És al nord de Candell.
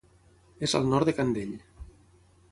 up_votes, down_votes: 6, 0